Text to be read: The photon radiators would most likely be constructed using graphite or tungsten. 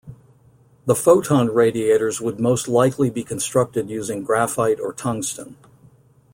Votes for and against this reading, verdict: 2, 0, accepted